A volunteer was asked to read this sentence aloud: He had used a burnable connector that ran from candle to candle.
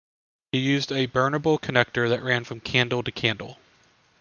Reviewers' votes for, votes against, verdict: 0, 2, rejected